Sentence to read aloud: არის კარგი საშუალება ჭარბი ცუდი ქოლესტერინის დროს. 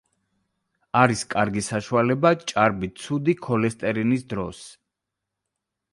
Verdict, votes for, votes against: accepted, 2, 0